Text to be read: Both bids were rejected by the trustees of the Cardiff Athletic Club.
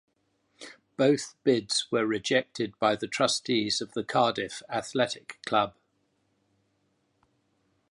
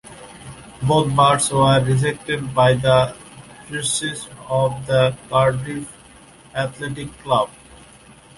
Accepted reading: first